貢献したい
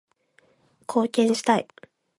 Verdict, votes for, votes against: accepted, 2, 0